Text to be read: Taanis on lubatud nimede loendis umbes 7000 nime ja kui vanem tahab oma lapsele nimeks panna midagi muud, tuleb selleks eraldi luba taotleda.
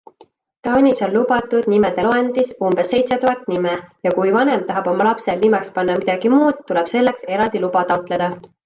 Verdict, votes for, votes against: rejected, 0, 2